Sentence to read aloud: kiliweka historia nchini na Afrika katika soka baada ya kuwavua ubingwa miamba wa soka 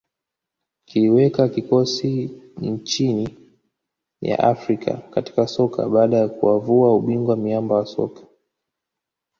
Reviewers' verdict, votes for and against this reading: rejected, 0, 2